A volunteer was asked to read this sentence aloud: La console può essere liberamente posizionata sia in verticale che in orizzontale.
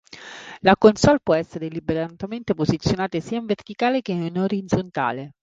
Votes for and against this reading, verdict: 0, 3, rejected